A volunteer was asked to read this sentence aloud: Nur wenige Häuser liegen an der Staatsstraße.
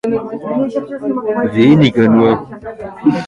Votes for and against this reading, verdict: 0, 2, rejected